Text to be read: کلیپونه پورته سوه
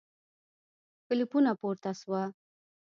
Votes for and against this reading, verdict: 1, 2, rejected